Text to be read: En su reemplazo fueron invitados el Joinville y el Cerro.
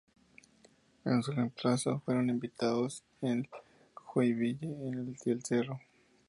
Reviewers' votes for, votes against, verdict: 2, 0, accepted